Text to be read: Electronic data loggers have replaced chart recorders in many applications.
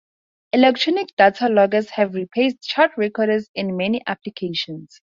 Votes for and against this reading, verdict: 2, 0, accepted